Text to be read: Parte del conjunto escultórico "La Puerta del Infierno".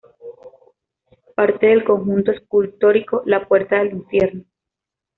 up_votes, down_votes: 2, 0